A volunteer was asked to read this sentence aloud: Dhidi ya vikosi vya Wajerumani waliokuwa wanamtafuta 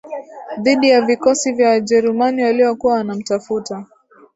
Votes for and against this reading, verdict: 2, 0, accepted